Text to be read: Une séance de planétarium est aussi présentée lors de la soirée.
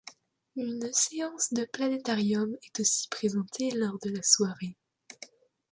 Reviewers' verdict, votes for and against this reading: accepted, 2, 0